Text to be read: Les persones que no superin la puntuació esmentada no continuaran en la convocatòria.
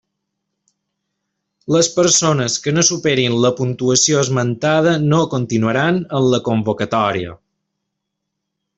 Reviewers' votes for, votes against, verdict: 3, 0, accepted